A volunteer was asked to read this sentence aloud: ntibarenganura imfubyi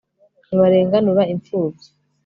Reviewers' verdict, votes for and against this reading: accepted, 2, 0